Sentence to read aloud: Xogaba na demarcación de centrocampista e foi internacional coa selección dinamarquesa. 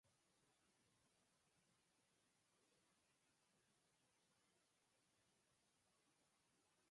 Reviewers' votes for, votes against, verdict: 0, 4, rejected